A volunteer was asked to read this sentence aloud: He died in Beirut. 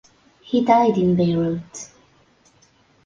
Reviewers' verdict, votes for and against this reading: accepted, 2, 0